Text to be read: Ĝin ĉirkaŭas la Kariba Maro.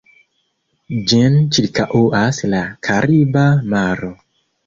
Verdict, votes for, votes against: rejected, 1, 2